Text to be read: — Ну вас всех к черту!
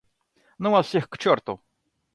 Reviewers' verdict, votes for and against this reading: accepted, 2, 0